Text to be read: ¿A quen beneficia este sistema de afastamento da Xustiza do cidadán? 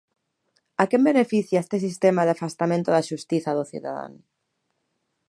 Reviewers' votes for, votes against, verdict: 2, 0, accepted